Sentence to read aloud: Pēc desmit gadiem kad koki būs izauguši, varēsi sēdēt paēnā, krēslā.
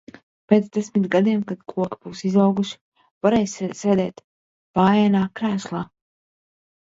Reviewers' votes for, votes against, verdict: 1, 2, rejected